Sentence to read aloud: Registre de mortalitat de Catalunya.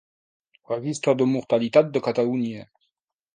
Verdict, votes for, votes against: accepted, 2, 0